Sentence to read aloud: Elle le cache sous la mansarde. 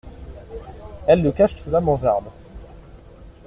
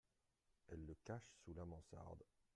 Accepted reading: second